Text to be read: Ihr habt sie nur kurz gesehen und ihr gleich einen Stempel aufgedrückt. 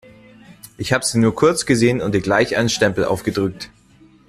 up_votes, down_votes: 0, 2